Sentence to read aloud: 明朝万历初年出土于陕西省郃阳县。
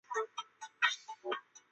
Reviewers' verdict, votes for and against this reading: rejected, 0, 2